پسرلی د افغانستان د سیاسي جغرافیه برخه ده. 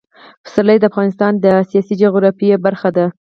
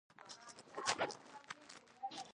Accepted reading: first